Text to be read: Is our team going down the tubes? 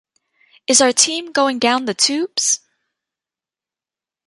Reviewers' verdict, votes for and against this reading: accepted, 2, 0